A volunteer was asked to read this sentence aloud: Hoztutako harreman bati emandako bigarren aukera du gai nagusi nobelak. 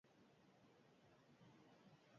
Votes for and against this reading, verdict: 0, 2, rejected